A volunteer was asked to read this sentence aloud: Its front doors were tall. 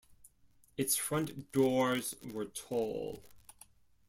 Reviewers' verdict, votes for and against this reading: rejected, 0, 2